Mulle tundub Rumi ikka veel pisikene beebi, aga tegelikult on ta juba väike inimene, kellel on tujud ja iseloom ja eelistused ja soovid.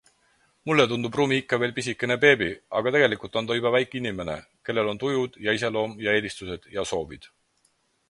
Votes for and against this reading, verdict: 4, 0, accepted